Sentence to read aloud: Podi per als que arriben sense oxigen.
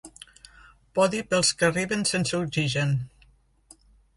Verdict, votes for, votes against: rejected, 1, 2